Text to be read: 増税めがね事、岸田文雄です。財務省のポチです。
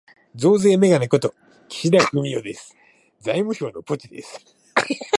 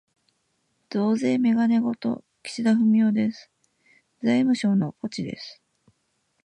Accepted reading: first